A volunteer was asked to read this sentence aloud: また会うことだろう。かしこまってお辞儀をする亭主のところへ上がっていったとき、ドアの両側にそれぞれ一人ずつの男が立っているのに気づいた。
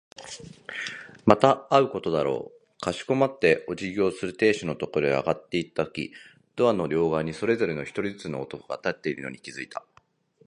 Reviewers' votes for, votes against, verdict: 0, 2, rejected